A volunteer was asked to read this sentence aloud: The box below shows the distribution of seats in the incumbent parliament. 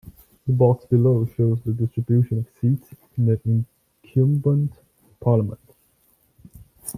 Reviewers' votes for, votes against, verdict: 0, 2, rejected